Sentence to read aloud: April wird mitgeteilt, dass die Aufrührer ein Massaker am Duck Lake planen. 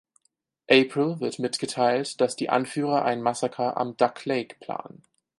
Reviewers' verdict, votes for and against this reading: rejected, 2, 4